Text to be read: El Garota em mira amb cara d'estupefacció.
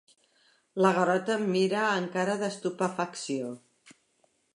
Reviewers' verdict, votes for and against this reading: rejected, 0, 2